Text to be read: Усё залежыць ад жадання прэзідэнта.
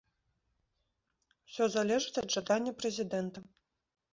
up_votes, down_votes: 2, 0